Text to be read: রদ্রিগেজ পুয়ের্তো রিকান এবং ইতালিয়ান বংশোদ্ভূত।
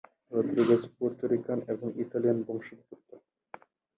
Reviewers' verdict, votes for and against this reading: rejected, 2, 2